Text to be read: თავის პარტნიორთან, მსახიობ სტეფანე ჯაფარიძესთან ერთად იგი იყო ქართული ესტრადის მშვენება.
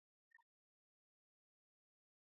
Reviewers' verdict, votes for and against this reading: rejected, 0, 2